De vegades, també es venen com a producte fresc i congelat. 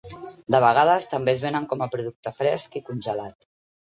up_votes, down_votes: 3, 0